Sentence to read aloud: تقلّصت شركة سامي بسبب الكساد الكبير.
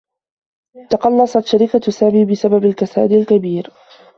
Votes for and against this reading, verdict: 2, 0, accepted